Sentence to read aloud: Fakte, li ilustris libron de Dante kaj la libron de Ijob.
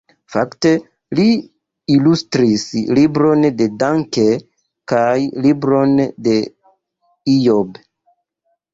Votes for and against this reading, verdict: 0, 2, rejected